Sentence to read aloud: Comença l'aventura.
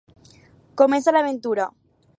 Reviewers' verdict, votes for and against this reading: accepted, 4, 0